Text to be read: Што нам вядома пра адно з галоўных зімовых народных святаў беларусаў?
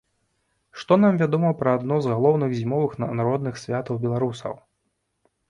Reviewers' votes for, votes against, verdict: 2, 0, accepted